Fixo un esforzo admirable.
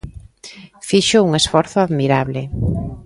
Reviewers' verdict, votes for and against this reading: accepted, 2, 0